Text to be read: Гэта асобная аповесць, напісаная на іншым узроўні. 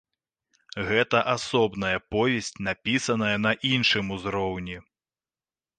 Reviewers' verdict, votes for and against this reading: rejected, 1, 3